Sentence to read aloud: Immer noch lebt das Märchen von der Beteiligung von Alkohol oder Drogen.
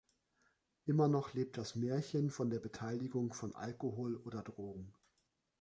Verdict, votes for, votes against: accepted, 2, 0